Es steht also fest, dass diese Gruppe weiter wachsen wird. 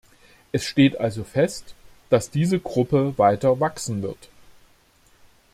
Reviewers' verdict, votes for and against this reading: accepted, 2, 0